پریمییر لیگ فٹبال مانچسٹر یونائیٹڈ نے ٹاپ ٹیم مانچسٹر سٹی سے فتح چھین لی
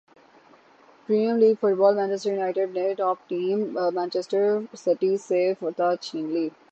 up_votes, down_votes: 0, 3